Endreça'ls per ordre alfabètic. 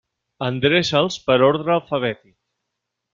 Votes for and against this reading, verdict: 2, 0, accepted